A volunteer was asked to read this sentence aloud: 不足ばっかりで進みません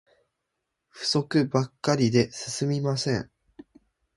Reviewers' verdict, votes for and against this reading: accepted, 3, 0